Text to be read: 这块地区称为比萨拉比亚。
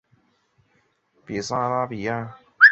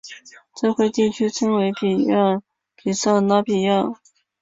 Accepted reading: first